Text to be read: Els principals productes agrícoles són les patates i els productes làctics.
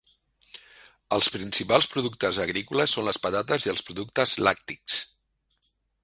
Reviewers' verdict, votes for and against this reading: accepted, 3, 0